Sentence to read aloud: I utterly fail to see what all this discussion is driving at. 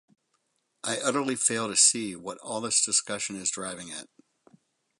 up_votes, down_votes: 6, 0